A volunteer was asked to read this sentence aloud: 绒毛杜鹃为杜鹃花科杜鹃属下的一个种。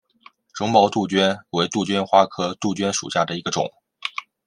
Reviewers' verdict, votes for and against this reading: accepted, 2, 0